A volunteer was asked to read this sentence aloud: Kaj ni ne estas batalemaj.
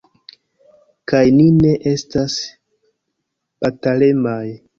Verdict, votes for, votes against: accepted, 2, 1